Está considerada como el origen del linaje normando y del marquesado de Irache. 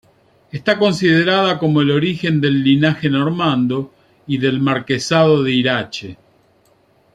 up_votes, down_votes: 2, 0